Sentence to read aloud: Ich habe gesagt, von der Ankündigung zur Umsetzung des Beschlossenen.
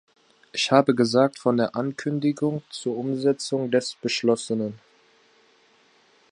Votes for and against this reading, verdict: 3, 1, accepted